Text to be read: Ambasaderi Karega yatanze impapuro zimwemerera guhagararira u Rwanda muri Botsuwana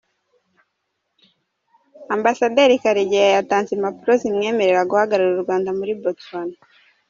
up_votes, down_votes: 0, 2